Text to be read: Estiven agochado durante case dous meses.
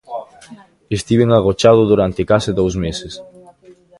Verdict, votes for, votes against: rejected, 0, 2